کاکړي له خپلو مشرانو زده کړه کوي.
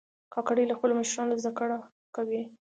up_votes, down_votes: 2, 0